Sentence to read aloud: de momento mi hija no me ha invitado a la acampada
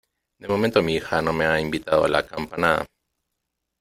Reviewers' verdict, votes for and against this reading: rejected, 1, 2